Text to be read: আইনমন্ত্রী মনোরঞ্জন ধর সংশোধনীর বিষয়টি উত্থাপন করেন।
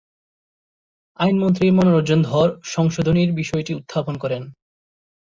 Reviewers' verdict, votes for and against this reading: accepted, 8, 2